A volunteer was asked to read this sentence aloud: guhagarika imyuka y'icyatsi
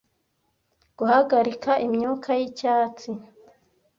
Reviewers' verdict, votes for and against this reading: accepted, 2, 0